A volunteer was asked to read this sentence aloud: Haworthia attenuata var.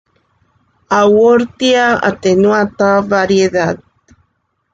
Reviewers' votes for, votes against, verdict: 0, 2, rejected